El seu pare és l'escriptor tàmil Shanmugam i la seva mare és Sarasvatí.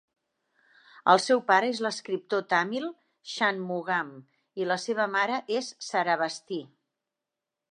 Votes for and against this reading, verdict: 1, 2, rejected